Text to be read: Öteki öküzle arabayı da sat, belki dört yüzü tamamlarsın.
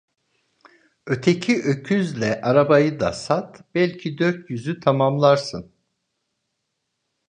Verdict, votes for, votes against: accepted, 2, 0